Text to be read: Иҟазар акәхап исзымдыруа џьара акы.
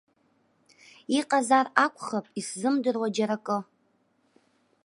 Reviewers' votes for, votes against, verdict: 2, 0, accepted